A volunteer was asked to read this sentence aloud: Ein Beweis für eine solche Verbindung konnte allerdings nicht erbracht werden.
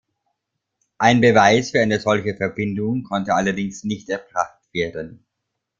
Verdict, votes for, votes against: rejected, 1, 2